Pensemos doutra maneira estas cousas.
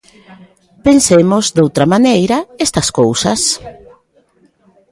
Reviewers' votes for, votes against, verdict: 0, 2, rejected